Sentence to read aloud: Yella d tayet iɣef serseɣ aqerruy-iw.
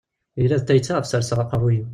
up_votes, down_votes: 1, 2